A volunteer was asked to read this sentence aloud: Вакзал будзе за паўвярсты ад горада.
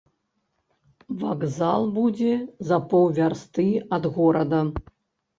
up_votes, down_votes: 1, 2